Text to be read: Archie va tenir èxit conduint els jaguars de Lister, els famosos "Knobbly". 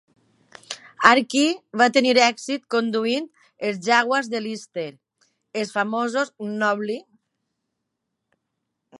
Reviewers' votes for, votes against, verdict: 2, 0, accepted